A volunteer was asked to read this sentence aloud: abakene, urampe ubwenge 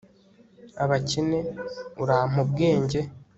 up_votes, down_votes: 2, 0